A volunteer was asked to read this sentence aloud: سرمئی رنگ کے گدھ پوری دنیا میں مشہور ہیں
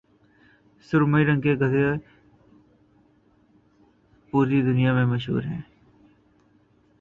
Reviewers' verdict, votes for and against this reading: rejected, 1, 2